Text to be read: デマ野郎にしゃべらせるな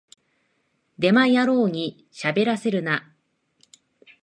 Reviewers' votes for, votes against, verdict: 2, 0, accepted